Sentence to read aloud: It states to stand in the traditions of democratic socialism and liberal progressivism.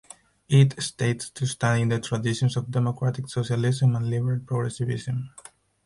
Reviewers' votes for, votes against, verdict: 0, 4, rejected